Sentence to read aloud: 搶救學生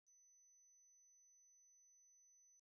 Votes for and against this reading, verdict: 0, 2, rejected